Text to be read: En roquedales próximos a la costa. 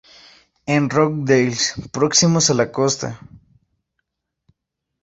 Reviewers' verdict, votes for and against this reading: rejected, 0, 2